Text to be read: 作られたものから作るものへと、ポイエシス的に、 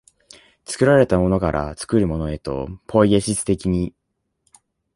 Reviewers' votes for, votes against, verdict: 2, 0, accepted